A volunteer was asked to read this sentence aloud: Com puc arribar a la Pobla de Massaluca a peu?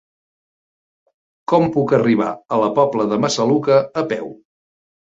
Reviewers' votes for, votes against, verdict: 1, 2, rejected